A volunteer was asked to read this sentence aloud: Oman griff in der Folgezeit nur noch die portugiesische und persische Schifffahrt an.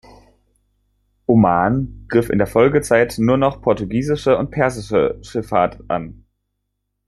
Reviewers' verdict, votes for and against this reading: rejected, 0, 2